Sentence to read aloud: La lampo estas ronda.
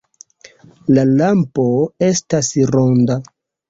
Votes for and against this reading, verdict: 1, 3, rejected